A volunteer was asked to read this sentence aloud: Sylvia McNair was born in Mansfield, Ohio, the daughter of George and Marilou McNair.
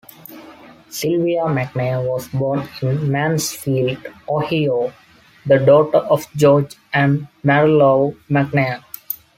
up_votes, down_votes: 2, 0